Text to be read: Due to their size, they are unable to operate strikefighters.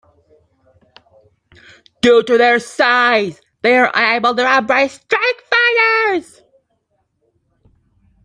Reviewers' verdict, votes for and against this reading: rejected, 1, 2